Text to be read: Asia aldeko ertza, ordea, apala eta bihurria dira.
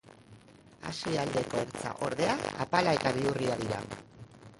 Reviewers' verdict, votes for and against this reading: rejected, 1, 2